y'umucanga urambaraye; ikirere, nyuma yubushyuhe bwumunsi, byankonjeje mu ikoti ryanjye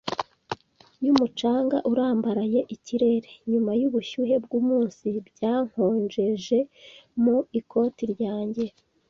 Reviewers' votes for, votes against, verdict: 2, 1, accepted